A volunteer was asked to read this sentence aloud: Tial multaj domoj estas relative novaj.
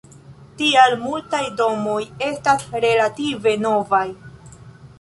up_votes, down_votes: 2, 1